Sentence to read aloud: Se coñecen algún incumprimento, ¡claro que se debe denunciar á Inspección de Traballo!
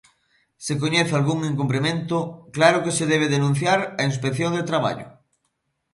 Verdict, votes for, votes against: rejected, 0, 2